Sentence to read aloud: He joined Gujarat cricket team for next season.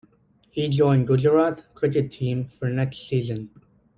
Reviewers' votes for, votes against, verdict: 2, 1, accepted